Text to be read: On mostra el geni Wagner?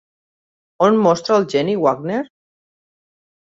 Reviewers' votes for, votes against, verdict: 6, 0, accepted